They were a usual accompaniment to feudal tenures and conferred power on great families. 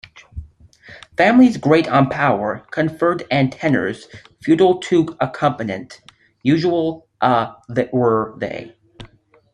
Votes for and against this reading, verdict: 0, 2, rejected